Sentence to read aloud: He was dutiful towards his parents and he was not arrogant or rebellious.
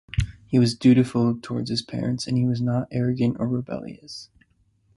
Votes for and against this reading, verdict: 2, 0, accepted